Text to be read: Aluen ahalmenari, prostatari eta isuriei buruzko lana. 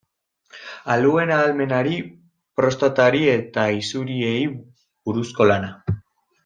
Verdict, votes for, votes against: rejected, 0, 2